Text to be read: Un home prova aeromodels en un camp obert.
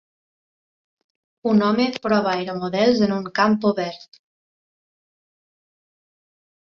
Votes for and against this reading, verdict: 2, 0, accepted